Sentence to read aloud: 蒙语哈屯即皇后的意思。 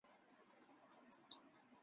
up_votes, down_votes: 0, 2